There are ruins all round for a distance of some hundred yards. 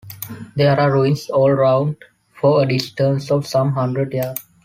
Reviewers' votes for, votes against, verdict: 2, 0, accepted